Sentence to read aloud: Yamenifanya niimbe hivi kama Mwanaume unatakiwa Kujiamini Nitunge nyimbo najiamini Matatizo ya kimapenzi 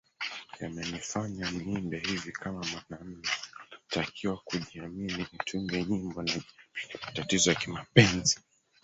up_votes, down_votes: 0, 4